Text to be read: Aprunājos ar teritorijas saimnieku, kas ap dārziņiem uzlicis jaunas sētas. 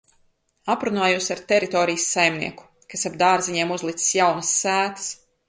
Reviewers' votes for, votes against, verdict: 4, 1, accepted